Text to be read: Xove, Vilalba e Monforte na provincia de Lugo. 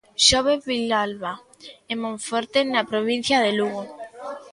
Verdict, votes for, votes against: rejected, 1, 2